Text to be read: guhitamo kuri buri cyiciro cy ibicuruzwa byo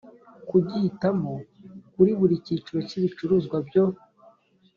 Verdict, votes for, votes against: rejected, 1, 2